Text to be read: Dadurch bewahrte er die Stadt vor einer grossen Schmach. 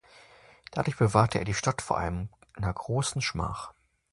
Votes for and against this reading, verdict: 0, 2, rejected